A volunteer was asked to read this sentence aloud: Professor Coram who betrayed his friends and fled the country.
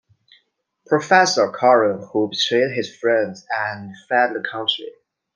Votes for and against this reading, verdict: 0, 2, rejected